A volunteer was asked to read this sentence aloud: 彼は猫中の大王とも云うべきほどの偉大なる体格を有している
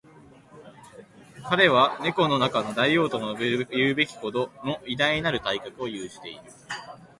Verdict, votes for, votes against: rejected, 1, 2